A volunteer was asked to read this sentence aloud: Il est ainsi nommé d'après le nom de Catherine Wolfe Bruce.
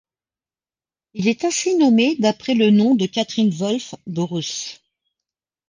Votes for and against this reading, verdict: 2, 0, accepted